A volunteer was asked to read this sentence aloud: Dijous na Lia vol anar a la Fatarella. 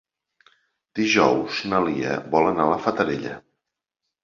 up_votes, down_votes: 3, 0